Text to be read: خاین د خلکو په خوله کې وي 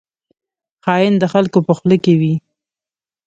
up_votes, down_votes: 2, 0